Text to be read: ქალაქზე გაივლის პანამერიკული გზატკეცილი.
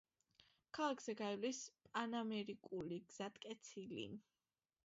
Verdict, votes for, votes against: accepted, 2, 1